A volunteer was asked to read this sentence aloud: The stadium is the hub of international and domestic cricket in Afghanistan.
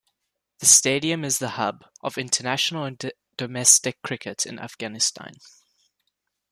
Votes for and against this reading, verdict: 0, 2, rejected